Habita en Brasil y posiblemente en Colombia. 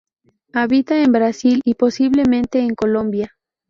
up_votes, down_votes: 0, 2